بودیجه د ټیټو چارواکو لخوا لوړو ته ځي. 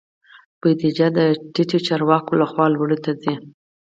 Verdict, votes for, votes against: accepted, 4, 0